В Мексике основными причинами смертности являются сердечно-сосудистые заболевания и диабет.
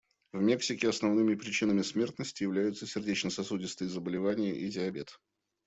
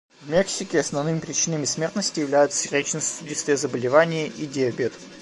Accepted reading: first